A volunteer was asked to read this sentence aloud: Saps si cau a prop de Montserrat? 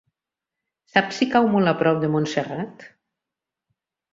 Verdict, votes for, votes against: rejected, 1, 4